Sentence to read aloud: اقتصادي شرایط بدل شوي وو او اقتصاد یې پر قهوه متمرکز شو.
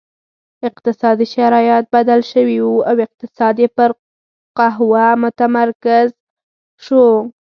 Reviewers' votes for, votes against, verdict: 4, 0, accepted